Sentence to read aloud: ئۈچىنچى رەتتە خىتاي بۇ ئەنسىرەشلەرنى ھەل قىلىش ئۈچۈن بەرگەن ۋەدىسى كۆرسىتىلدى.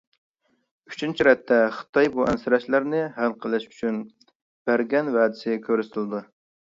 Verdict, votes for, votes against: rejected, 0, 2